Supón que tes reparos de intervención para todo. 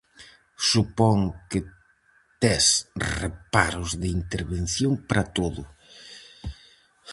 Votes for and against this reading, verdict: 4, 0, accepted